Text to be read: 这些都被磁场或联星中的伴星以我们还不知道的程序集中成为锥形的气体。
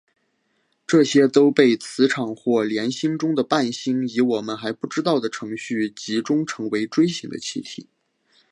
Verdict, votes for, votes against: accepted, 4, 0